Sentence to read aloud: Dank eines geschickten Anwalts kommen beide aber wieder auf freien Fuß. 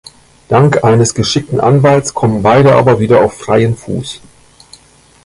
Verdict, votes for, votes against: rejected, 1, 2